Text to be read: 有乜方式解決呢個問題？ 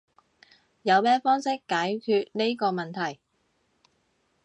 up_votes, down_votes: 1, 2